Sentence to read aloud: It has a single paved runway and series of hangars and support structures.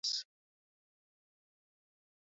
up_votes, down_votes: 0, 2